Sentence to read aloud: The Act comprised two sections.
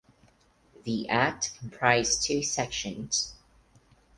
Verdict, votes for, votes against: accepted, 4, 0